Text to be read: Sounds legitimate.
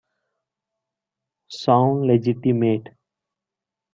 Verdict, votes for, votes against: rejected, 0, 2